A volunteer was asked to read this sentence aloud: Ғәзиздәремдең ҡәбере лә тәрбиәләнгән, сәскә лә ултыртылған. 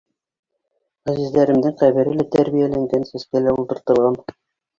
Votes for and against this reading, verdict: 0, 2, rejected